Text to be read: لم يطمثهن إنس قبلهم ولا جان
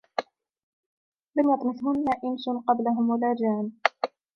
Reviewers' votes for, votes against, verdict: 1, 2, rejected